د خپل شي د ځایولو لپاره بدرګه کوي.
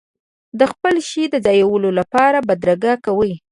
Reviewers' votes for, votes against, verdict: 2, 0, accepted